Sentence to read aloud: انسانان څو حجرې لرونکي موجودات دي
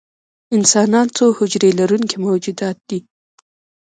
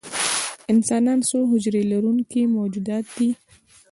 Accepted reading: second